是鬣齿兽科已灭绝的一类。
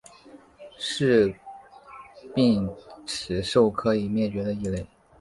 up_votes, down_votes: 2, 0